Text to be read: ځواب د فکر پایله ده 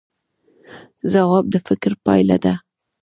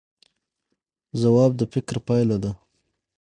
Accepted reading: second